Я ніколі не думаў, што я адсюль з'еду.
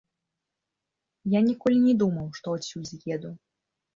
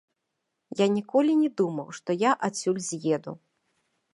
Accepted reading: first